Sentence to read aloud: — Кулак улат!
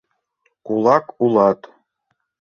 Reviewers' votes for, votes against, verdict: 2, 0, accepted